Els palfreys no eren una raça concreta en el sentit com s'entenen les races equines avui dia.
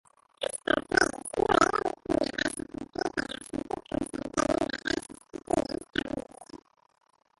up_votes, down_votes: 0, 2